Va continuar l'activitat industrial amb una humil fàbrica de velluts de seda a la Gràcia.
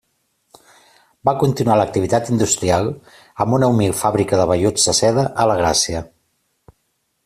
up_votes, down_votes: 2, 0